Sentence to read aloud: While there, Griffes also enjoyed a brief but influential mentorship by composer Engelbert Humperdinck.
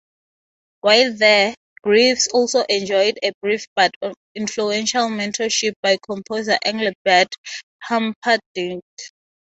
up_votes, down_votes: 3, 3